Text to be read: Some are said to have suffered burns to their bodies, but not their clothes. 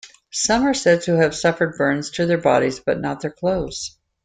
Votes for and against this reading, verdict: 2, 0, accepted